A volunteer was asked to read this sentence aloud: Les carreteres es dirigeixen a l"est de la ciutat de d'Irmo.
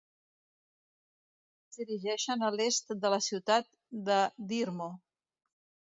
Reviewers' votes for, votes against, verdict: 0, 2, rejected